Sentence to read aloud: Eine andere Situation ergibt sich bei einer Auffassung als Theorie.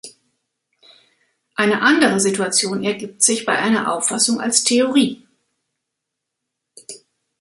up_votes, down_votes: 1, 2